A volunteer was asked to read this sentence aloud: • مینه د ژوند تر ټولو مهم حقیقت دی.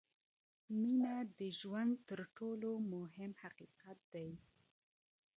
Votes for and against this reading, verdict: 1, 2, rejected